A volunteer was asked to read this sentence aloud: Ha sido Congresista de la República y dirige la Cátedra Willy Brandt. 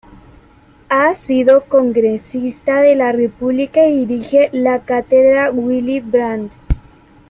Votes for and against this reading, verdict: 2, 3, rejected